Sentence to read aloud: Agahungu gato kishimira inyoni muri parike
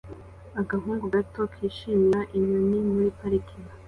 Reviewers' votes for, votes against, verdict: 2, 0, accepted